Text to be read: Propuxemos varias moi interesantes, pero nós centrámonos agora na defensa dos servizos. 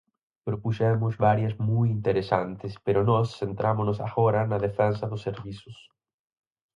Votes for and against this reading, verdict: 4, 0, accepted